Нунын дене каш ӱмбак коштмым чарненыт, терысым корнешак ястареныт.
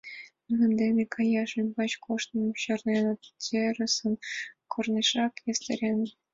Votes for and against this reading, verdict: 1, 3, rejected